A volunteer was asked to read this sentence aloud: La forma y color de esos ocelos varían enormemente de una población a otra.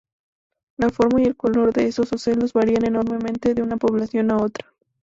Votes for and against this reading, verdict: 2, 0, accepted